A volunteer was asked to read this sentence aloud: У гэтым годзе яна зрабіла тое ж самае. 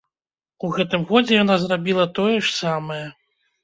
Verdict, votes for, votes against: accepted, 2, 0